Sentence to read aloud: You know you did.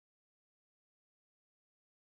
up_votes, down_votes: 0, 3